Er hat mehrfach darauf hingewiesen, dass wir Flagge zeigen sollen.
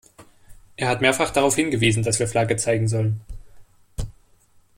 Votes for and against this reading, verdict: 2, 0, accepted